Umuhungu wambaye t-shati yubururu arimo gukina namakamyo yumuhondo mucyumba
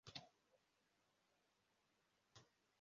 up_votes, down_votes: 0, 2